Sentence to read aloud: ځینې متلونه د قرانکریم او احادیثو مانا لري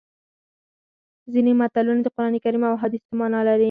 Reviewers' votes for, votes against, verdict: 4, 0, accepted